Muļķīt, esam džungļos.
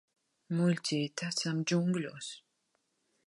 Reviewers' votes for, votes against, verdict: 2, 0, accepted